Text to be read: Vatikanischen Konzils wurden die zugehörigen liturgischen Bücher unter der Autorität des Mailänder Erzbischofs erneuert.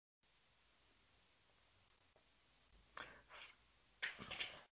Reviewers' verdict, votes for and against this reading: rejected, 0, 2